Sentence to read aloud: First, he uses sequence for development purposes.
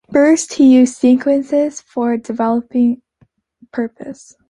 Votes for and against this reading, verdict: 0, 2, rejected